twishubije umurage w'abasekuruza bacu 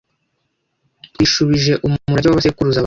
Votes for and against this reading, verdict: 0, 2, rejected